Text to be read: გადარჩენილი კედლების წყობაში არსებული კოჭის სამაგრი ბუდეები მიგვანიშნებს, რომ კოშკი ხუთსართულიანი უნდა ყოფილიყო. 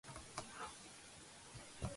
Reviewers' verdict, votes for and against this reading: rejected, 1, 2